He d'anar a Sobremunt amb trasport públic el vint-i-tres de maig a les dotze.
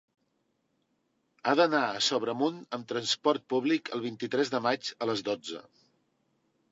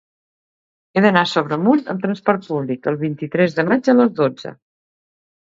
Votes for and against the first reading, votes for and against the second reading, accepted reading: 0, 2, 2, 0, second